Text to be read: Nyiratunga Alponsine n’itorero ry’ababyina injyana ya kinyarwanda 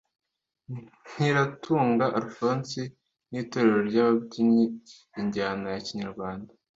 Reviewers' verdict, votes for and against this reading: rejected, 1, 2